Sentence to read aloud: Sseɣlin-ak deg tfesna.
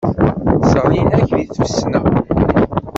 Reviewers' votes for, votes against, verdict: 1, 2, rejected